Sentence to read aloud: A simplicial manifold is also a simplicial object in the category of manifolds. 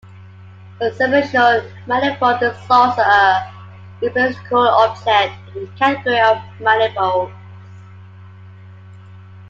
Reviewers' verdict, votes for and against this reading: rejected, 0, 2